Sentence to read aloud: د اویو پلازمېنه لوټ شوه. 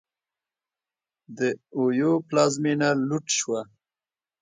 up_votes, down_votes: 2, 0